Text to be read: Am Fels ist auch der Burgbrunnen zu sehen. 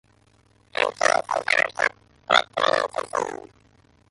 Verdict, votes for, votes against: rejected, 0, 2